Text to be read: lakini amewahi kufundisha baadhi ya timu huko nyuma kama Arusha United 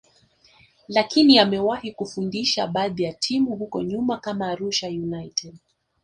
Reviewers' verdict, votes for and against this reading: rejected, 0, 2